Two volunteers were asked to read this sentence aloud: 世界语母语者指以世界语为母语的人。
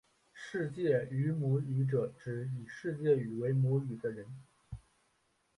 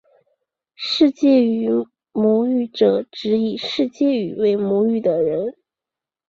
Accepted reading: second